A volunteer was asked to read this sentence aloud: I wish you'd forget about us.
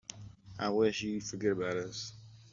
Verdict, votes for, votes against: accepted, 2, 1